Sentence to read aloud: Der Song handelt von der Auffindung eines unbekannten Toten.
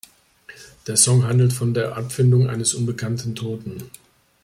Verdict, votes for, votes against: rejected, 1, 2